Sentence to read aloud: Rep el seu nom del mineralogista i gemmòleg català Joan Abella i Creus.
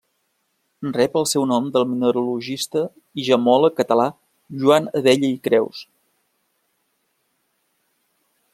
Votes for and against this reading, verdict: 2, 0, accepted